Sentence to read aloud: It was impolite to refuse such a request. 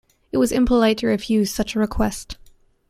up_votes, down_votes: 2, 0